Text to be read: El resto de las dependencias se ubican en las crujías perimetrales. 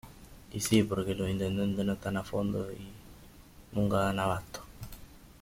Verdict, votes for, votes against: rejected, 1, 2